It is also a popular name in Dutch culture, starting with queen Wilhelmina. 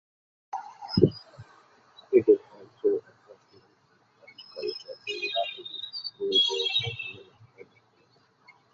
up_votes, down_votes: 0, 2